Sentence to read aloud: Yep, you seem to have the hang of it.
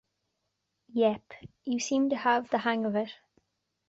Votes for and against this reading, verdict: 2, 0, accepted